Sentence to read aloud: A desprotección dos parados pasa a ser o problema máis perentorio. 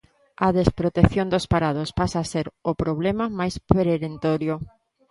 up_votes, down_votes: 0, 2